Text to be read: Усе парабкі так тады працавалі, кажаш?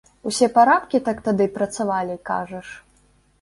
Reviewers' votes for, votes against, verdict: 1, 2, rejected